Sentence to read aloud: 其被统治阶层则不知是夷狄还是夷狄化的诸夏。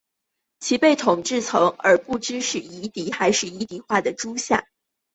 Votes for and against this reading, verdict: 1, 2, rejected